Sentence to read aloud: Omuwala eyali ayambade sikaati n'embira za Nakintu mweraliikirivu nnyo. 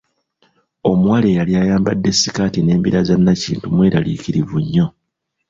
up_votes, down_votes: 1, 2